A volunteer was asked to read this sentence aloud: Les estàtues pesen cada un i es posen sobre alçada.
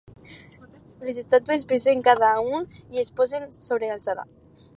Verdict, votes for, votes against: accepted, 4, 0